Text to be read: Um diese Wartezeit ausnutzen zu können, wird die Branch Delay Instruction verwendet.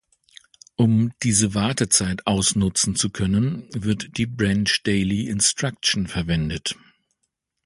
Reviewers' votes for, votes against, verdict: 1, 2, rejected